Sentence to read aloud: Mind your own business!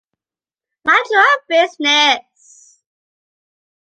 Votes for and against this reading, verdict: 2, 0, accepted